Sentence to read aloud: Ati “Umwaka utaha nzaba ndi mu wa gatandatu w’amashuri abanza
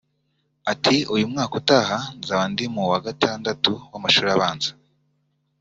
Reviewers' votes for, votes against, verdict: 2, 0, accepted